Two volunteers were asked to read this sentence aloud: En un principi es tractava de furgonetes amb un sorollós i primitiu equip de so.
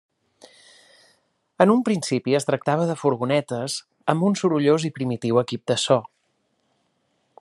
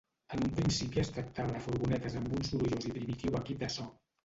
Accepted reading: first